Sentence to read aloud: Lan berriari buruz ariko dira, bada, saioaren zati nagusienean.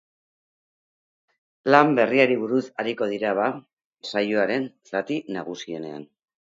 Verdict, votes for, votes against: rejected, 0, 2